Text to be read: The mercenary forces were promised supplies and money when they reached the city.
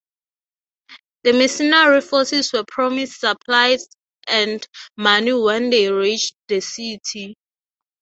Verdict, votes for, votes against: accepted, 3, 0